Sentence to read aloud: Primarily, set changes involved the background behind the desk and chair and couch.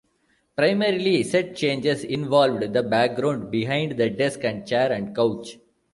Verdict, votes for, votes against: rejected, 1, 2